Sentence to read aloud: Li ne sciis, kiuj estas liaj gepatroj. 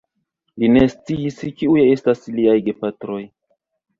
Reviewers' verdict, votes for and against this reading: rejected, 1, 3